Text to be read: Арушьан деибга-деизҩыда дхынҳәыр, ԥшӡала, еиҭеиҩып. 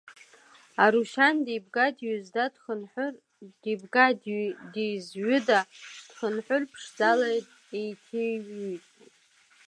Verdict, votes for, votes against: rejected, 1, 2